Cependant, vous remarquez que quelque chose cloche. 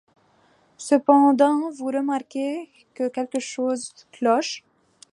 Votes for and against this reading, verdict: 2, 0, accepted